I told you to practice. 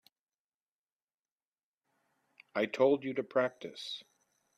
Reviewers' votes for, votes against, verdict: 2, 0, accepted